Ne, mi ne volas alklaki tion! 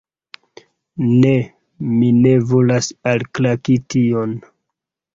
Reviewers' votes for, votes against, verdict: 2, 1, accepted